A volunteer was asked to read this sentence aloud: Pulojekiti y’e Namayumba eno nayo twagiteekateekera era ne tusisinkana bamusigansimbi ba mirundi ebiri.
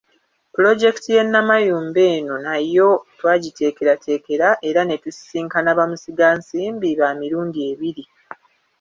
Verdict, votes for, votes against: rejected, 1, 2